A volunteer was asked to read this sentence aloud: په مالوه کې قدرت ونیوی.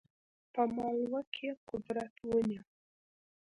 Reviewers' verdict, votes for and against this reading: rejected, 0, 2